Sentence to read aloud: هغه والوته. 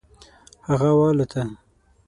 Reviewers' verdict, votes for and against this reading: accepted, 6, 0